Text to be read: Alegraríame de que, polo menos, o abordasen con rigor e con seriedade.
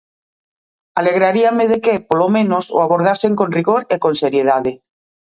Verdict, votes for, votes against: accepted, 2, 0